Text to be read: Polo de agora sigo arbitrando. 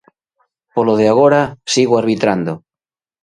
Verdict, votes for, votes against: accepted, 4, 0